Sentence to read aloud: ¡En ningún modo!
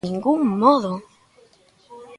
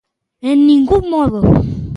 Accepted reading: second